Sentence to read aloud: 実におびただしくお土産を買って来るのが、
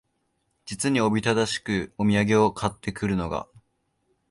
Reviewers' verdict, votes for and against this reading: accepted, 2, 0